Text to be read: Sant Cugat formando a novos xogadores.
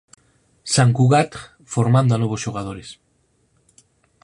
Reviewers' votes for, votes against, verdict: 4, 0, accepted